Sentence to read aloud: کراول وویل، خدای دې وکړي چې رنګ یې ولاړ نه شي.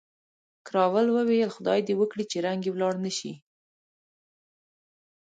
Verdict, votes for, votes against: rejected, 1, 2